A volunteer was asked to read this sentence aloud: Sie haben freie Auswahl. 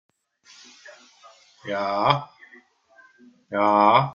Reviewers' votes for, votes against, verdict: 0, 2, rejected